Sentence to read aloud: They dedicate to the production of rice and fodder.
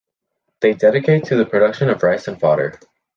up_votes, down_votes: 2, 0